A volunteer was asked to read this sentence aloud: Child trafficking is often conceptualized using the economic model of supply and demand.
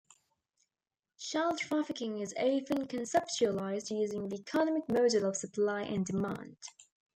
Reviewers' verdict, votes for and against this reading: rejected, 1, 3